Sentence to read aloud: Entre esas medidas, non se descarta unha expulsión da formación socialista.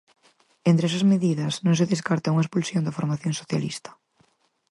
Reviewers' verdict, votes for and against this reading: accepted, 4, 0